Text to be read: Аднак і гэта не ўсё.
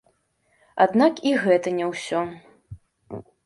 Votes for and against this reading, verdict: 2, 0, accepted